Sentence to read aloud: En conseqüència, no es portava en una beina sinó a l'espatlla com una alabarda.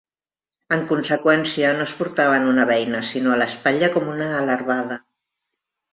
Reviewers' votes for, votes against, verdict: 1, 2, rejected